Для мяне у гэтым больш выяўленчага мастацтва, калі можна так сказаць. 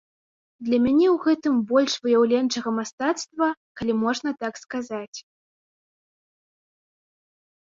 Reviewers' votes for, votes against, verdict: 2, 0, accepted